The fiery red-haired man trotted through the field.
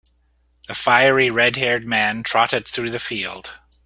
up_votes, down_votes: 3, 0